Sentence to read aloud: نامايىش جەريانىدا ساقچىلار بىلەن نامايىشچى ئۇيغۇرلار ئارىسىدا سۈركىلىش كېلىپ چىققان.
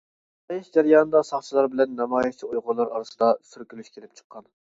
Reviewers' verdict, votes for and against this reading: rejected, 1, 2